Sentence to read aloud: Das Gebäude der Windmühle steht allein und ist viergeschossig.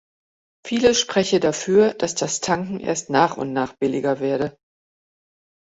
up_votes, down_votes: 0, 2